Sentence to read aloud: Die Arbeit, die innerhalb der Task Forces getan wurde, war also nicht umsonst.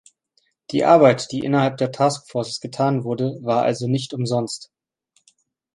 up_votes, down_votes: 2, 0